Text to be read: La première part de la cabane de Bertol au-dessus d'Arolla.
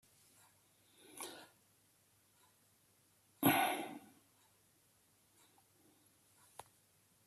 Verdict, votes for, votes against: rejected, 0, 2